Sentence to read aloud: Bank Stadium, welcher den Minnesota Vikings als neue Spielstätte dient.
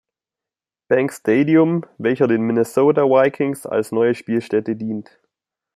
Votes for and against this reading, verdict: 2, 0, accepted